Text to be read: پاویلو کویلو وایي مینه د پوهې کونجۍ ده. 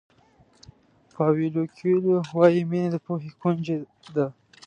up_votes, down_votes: 2, 0